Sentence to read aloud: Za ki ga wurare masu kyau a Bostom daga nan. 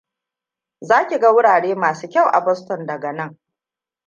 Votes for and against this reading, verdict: 1, 2, rejected